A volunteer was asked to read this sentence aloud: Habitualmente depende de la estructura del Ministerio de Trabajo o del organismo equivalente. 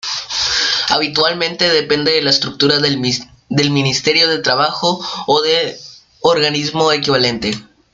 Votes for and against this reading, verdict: 0, 2, rejected